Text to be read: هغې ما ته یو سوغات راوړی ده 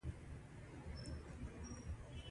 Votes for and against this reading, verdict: 2, 1, accepted